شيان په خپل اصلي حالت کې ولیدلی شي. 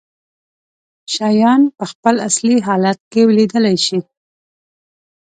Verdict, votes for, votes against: accepted, 2, 0